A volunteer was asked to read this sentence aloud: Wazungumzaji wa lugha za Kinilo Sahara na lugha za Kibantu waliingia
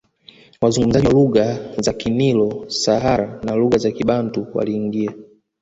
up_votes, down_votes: 0, 2